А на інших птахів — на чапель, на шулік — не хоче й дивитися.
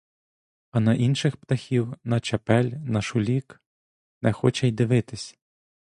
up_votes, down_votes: 0, 2